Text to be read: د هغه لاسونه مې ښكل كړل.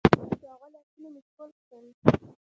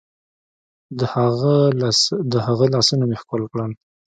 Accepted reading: second